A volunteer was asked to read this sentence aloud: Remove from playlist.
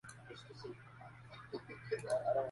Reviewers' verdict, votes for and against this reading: rejected, 0, 2